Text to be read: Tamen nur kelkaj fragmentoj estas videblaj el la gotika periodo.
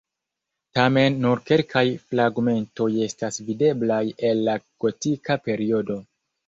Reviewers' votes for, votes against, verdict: 1, 2, rejected